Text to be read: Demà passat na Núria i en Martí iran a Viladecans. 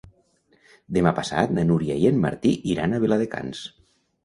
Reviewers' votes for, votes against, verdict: 2, 0, accepted